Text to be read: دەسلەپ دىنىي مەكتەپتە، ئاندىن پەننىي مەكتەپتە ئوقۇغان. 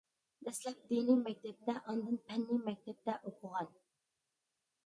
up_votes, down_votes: 2, 0